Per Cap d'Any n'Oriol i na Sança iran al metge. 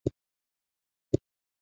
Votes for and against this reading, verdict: 0, 2, rejected